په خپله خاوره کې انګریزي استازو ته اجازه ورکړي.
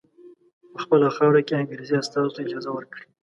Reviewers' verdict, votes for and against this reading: accepted, 2, 0